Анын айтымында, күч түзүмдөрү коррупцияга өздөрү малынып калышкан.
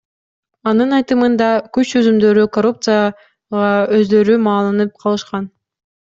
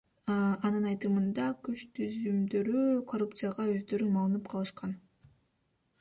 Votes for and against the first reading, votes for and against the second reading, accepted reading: 0, 2, 2, 0, second